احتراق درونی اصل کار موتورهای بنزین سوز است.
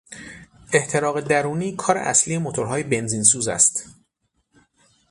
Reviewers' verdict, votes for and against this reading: rejected, 0, 6